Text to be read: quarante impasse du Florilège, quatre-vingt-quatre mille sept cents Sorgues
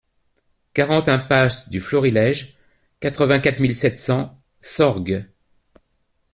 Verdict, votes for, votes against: accepted, 2, 0